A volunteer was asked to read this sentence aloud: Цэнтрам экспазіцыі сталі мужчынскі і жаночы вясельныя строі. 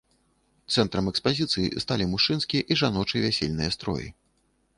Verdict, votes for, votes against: accepted, 2, 0